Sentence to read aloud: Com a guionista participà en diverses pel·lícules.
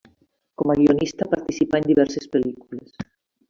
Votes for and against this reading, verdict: 3, 1, accepted